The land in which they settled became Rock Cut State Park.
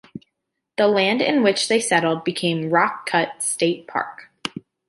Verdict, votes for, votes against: accepted, 2, 0